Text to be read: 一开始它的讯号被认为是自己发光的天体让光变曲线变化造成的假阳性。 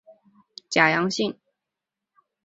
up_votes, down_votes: 0, 2